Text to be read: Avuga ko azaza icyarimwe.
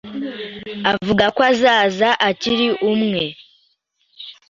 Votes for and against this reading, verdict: 0, 2, rejected